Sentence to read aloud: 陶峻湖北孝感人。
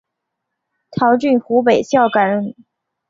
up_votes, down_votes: 2, 0